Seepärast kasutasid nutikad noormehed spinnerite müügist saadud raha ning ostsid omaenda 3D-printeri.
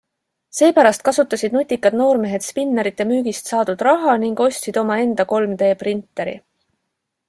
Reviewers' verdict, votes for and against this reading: rejected, 0, 2